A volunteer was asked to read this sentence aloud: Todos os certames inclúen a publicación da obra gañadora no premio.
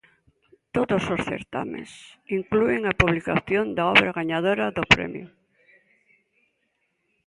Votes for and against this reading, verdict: 0, 2, rejected